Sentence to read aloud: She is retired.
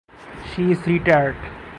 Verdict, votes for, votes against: rejected, 0, 2